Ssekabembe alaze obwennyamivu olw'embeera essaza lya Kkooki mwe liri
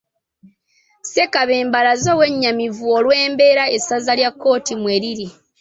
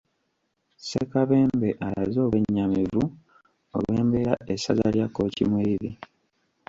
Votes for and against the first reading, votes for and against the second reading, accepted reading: 2, 1, 1, 2, first